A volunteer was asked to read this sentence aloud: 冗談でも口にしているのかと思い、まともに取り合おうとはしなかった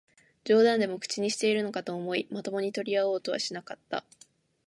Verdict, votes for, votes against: rejected, 1, 2